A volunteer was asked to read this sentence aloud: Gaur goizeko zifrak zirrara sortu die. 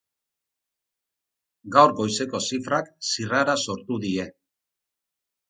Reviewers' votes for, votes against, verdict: 4, 0, accepted